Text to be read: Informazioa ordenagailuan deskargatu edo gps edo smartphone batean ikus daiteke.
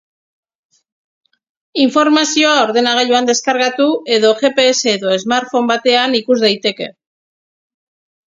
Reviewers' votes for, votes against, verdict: 4, 0, accepted